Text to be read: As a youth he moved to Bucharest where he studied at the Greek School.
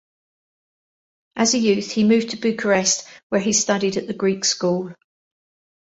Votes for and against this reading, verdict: 2, 0, accepted